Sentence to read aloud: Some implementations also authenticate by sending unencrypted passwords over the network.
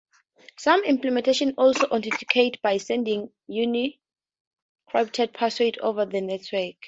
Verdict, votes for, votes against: rejected, 0, 2